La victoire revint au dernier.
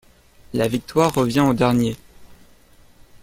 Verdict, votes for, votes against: rejected, 1, 2